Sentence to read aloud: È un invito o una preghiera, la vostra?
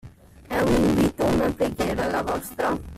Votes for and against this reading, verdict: 1, 2, rejected